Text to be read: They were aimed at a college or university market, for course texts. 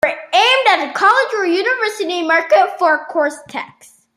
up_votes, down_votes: 2, 1